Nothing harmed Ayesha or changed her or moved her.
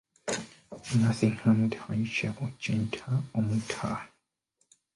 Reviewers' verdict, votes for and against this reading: accepted, 2, 1